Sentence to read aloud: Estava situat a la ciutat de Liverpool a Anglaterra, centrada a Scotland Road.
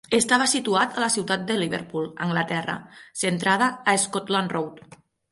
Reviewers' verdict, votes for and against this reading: accepted, 6, 0